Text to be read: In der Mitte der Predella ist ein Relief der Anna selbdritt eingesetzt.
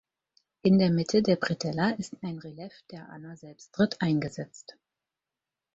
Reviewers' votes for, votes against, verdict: 2, 4, rejected